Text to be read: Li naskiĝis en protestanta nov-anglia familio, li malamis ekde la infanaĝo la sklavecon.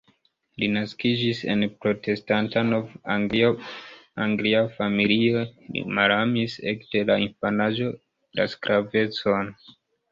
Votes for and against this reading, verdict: 2, 1, accepted